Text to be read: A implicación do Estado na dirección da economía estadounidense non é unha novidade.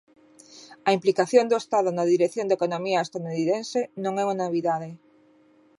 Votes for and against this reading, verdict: 1, 2, rejected